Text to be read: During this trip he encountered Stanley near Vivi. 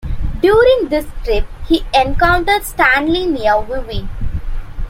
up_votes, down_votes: 2, 0